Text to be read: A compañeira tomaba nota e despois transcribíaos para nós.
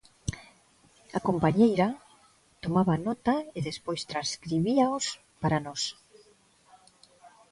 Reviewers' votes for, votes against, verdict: 3, 0, accepted